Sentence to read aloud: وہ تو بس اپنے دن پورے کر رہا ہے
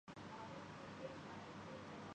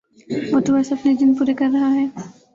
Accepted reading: second